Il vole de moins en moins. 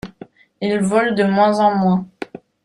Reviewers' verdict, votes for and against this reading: accepted, 2, 0